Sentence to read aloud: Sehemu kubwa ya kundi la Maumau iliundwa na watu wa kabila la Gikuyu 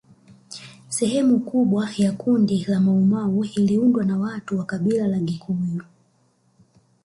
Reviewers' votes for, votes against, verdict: 1, 2, rejected